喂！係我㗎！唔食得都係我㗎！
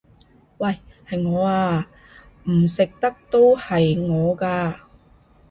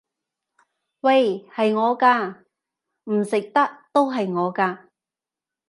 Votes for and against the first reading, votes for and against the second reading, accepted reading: 1, 2, 2, 0, second